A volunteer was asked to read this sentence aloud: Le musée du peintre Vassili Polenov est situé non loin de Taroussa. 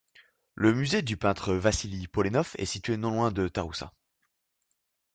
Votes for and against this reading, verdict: 2, 0, accepted